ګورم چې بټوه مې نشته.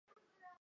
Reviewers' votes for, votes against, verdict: 2, 0, accepted